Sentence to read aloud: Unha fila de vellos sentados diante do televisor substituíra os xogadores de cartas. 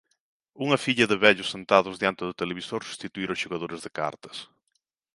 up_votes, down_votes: 0, 2